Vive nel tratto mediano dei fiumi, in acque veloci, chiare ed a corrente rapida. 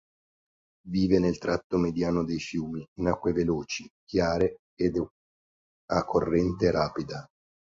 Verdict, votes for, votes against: rejected, 0, 2